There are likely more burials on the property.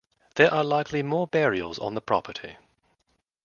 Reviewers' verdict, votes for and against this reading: accepted, 2, 0